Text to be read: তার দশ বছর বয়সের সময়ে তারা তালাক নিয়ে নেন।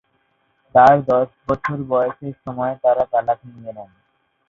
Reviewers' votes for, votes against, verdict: 0, 4, rejected